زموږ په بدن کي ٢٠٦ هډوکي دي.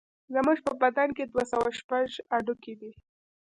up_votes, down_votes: 0, 2